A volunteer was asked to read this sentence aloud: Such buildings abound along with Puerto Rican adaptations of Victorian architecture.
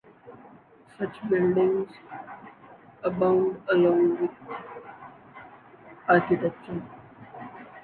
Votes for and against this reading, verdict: 0, 2, rejected